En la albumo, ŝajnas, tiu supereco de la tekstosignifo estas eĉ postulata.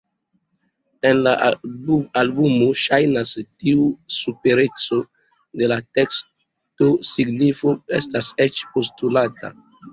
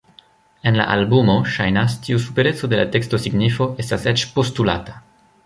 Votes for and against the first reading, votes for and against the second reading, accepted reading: 2, 3, 2, 1, second